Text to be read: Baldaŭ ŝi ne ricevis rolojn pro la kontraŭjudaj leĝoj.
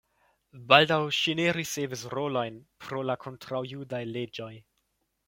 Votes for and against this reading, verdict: 0, 2, rejected